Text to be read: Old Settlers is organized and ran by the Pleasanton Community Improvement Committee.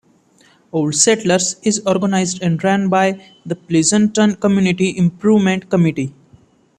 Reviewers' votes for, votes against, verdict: 2, 1, accepted